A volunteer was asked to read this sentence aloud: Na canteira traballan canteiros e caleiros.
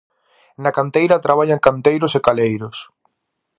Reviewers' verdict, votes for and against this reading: accepted, 2, 0